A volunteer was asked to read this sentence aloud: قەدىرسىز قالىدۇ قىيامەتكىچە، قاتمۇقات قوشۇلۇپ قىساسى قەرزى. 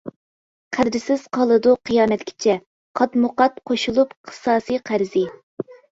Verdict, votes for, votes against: rejected, 0, 2